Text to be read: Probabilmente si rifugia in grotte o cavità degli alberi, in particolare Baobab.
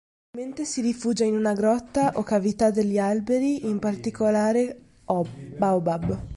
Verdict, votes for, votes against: rejected, 1, 2